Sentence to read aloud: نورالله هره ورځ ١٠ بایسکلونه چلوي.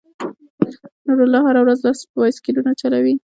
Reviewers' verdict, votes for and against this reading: rejected, 0, 2